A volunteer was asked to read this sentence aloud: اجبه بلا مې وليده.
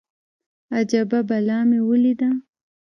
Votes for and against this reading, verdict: 2, 3, rejected